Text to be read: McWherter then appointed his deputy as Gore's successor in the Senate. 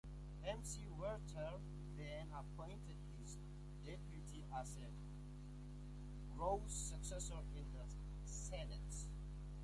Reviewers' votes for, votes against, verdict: 2, 1, accepted